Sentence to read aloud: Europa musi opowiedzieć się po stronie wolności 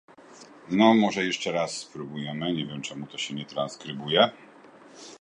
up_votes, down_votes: 0, 2